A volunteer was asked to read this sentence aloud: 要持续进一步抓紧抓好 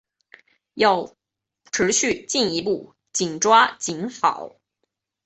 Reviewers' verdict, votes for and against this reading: rejected, 0, 2